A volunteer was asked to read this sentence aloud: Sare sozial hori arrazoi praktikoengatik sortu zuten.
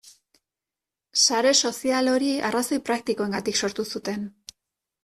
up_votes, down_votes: 2, 0